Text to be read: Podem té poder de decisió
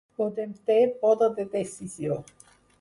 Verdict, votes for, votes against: accepted, 4, 2